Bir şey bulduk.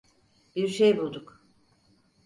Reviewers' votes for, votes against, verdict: 4, 0, accepted